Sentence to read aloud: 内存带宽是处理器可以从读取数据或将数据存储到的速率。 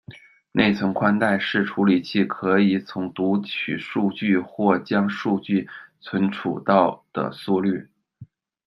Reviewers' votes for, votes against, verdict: 0, 2, rejected